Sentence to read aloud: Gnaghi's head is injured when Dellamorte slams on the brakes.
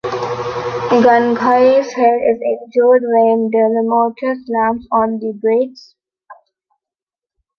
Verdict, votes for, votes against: rejected, 0, 2